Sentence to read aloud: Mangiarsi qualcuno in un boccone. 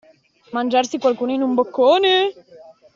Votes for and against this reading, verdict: 2, 0, accepted